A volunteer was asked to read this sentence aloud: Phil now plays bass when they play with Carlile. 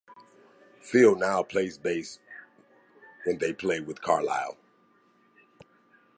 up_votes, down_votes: 2, 0